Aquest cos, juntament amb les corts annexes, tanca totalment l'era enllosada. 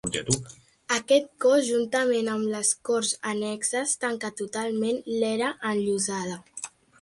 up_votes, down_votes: 1, 2